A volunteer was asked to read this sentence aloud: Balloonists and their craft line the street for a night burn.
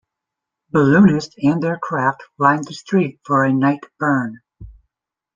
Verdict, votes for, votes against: rejected, 1, 2